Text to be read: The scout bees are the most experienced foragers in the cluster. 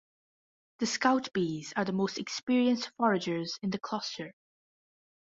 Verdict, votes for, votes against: accepted, 2, 1